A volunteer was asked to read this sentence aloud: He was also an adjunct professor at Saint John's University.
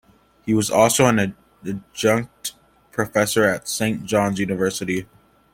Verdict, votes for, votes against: rejected, 0, 2